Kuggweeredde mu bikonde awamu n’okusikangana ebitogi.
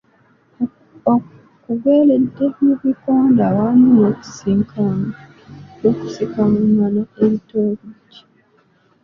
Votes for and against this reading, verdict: 0, 2, rejected